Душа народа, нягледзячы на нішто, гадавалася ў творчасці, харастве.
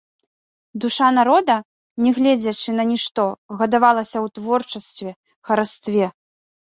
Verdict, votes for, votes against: accepted, 2, 0